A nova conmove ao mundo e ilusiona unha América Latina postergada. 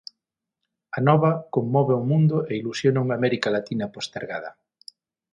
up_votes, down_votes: 6, 0